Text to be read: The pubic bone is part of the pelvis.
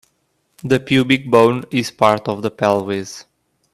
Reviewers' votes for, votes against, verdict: 2, 0, accepted